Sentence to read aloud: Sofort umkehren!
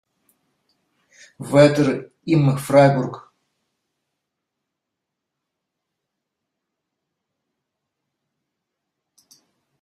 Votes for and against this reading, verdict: 0, 2, rejected